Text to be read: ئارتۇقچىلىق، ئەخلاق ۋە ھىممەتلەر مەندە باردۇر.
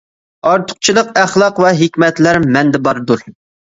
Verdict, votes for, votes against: rejected, 1, 2